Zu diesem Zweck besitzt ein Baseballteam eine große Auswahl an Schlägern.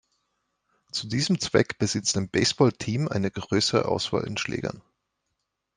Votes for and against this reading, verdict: 1, 2, rejected